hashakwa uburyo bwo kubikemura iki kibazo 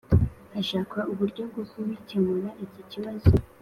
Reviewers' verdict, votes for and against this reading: accepted, 2, 1